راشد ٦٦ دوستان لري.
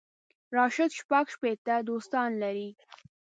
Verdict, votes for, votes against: rejected, 0, 2